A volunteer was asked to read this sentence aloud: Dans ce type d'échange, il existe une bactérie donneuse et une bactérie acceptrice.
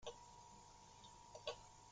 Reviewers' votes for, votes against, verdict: 0, 3, rejected